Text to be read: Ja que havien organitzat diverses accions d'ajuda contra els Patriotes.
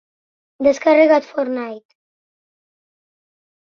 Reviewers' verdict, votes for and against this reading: rejected, 0, 4